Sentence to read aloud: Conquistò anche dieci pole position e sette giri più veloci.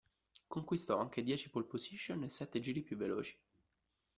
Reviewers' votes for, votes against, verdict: 2, 1, accepted